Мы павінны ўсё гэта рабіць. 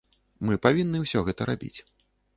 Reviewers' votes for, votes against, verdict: 2, 0, accepted